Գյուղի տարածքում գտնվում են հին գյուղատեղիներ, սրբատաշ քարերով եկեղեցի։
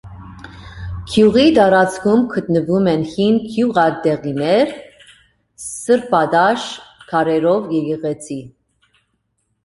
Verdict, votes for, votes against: accepted, 2, 0